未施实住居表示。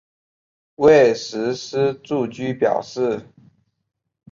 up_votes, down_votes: 2, 0